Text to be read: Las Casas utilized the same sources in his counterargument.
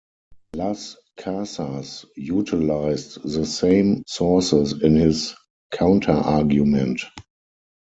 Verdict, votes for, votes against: accepted, 4, 0